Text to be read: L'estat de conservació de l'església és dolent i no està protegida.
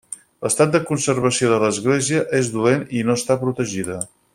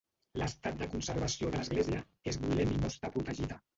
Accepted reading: first